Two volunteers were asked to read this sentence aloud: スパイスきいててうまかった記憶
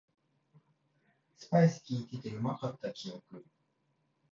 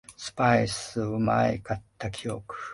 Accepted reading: first